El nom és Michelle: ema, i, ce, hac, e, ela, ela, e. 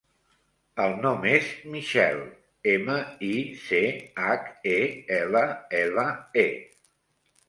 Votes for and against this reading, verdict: 2, 1, accepted